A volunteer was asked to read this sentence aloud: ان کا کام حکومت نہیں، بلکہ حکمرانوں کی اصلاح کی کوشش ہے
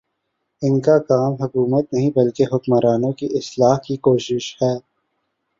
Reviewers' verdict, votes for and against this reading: accepted, 12, 3